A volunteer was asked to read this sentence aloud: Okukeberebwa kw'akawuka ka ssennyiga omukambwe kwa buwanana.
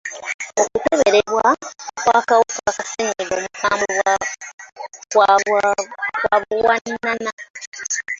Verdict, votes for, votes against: accepted, 2, 1